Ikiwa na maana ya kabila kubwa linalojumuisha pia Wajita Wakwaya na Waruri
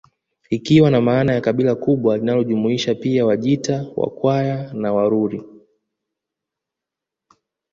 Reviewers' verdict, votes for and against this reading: accepted, 2, 0